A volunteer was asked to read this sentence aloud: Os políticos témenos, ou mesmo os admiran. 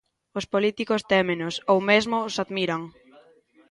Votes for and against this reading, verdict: 2, 0, accepted